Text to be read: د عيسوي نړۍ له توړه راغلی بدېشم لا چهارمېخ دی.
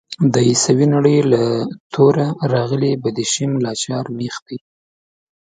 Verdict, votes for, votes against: accepted, 2, 0